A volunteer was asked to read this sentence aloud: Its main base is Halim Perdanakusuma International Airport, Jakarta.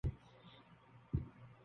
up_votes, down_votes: 0, 2